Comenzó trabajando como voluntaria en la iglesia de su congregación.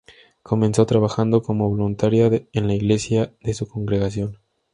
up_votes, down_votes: 2, 0